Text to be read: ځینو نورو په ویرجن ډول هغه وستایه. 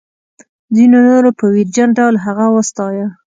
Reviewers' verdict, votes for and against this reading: accepted, 2, 0